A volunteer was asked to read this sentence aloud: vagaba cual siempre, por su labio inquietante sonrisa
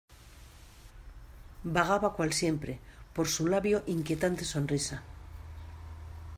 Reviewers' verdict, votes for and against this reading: accepted, 2, 0